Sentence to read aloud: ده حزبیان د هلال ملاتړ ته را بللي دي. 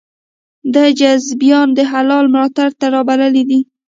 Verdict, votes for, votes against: rejected, 0, 2